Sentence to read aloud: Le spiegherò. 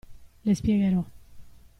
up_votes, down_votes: 2, 0